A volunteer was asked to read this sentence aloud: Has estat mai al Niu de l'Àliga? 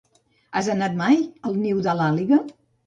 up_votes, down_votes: 0, 2